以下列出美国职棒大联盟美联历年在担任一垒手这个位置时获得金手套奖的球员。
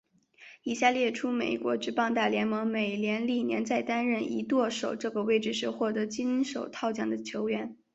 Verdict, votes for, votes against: accepted, 5, 2